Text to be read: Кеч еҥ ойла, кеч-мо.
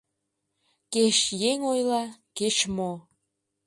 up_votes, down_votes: 0, 2